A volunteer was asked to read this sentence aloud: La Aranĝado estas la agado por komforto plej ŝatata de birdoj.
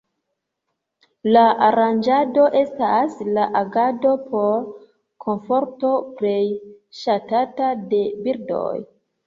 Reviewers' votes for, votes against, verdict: 3, 2, accepted